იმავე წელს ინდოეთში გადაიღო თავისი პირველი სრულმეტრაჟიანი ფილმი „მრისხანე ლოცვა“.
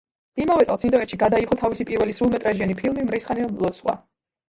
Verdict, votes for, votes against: rejected, 0, 2